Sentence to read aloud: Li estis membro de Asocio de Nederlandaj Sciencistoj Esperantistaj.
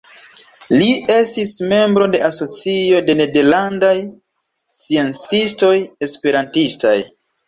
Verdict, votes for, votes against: rejected, 1, 2